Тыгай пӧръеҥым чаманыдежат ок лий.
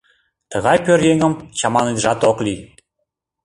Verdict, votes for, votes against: accepted, 2, 0